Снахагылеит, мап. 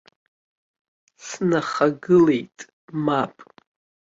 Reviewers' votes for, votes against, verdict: 2, 1, accepted